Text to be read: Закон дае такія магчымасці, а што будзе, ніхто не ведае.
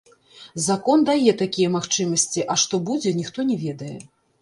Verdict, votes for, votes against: rejected, 1, 2